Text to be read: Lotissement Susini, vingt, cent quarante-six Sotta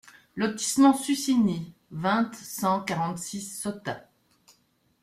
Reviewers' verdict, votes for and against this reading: rejected, 1, 2